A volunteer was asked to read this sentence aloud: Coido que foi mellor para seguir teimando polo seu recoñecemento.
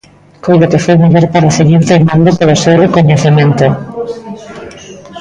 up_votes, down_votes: 0, 2